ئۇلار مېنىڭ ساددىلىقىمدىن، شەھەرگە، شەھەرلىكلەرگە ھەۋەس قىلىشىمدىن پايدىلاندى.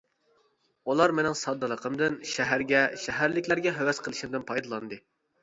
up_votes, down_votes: 2, 0